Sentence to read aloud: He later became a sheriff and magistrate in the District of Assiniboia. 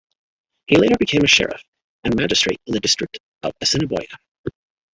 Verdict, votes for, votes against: accepted, 2, 0